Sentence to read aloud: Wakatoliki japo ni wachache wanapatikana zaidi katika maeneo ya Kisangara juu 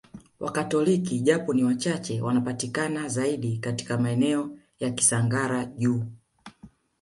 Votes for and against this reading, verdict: 2, 0, accepted